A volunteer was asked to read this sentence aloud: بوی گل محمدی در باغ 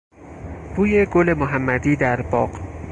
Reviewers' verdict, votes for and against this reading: accepted, 4, 0